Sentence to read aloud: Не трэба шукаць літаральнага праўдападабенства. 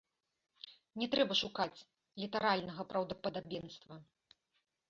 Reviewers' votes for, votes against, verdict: 2, 0, accepted